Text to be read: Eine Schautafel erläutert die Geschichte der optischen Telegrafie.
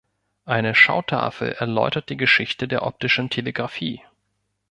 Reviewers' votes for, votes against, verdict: 2, 0, accepted